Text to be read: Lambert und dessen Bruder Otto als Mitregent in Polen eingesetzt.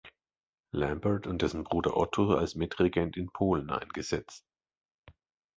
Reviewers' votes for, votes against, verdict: 2, 0, accepted